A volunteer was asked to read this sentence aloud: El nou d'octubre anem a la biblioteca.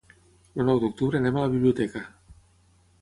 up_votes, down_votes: 3, 3